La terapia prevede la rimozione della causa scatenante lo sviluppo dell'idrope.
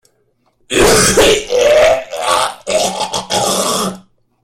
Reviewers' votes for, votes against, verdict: 0, 2, rejected